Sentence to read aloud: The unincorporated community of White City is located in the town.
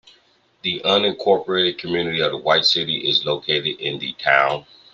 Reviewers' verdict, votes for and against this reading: accepted, 2, 1